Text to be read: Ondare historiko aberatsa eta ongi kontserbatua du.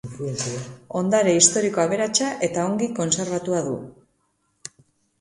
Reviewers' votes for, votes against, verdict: 2, 0, accepted